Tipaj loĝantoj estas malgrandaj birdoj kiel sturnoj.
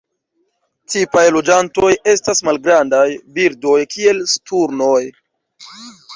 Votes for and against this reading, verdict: 2, 0, accepted